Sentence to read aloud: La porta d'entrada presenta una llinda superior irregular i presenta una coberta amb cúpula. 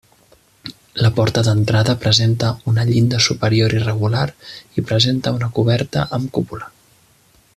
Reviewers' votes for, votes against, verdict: 3, 0, accepted